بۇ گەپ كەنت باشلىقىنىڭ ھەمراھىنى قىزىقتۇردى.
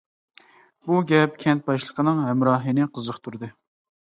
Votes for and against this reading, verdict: 2, 0, accepted